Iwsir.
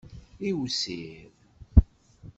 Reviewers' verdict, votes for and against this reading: accepted, 2, 0